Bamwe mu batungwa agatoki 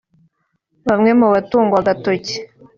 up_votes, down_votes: 3, 0